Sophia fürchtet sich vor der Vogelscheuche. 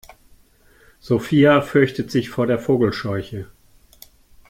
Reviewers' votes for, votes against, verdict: 2, 0, accepted